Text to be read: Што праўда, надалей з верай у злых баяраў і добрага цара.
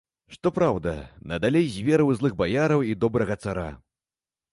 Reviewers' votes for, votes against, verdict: 2, 0, accepted